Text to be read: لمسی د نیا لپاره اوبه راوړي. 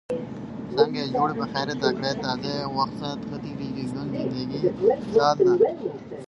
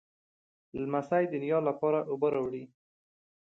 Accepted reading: second